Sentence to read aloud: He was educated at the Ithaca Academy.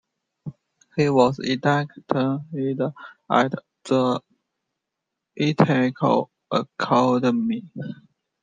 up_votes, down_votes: 0, 2